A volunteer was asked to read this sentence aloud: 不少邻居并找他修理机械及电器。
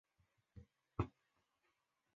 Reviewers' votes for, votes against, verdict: 0, 6, rejected